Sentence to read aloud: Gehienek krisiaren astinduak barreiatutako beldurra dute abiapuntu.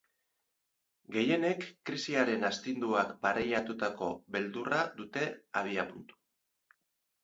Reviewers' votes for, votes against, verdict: 2, 0, accepted